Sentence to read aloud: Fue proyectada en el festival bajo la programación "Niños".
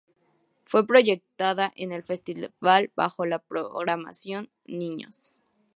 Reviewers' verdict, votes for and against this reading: accepted, 2, 0